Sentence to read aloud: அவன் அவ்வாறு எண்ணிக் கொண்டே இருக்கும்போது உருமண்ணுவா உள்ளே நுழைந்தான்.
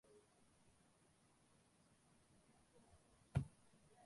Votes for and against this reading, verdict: 0, 2, rejected